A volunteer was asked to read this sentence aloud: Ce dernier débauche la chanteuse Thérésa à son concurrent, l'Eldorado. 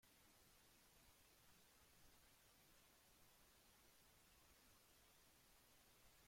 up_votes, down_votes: 0, 2